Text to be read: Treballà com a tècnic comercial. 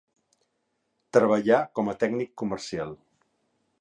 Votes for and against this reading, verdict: 5, 0, accepted